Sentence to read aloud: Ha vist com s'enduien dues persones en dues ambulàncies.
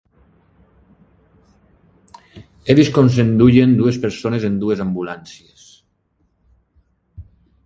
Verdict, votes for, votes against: rejected, 2, 5